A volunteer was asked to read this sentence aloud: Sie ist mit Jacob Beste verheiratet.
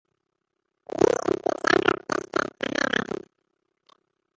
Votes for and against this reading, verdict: 0, 2, rejected